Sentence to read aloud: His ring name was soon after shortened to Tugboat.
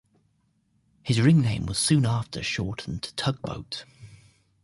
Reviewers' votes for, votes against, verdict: 2, 0, accepted